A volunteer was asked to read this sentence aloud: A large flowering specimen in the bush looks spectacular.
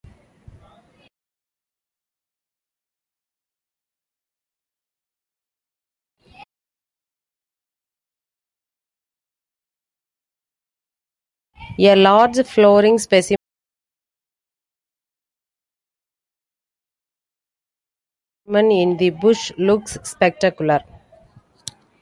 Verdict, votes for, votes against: rejected, 0, 2